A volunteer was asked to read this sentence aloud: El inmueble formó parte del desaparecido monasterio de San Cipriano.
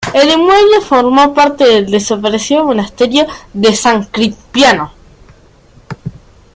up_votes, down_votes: 0, 2